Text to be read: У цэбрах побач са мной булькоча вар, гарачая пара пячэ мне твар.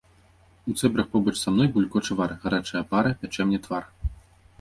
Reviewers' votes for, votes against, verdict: 2, 0, accepted